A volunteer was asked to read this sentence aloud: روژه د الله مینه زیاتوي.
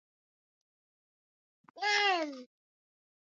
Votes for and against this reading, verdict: 0, 2, rejected